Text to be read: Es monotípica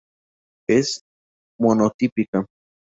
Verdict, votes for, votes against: accepted, 2, 0